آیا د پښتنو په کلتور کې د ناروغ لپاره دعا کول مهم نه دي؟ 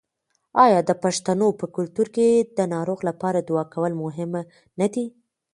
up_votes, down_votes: 2, 0